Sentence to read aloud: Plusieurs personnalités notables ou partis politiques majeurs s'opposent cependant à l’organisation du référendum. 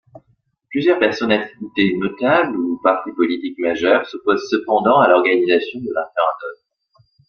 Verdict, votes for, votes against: rejected, 0, 2